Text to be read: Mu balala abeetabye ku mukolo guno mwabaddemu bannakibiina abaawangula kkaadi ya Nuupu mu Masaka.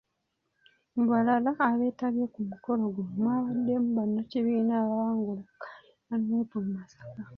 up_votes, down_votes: 0, 2